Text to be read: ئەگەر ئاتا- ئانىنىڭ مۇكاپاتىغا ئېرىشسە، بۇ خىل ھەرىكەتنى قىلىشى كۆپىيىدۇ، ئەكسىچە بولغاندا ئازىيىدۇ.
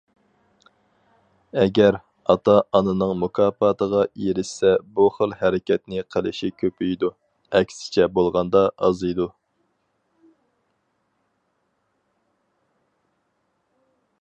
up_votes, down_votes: 4, 0